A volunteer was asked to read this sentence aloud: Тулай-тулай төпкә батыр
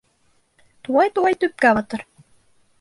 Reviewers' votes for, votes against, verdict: 2, 0, accepted